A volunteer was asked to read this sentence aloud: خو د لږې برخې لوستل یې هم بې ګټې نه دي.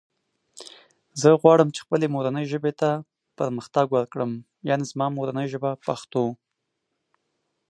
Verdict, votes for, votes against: rejected, 0, 2